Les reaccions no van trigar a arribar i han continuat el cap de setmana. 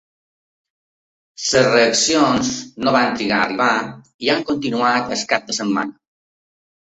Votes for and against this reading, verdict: 2, 0, accepted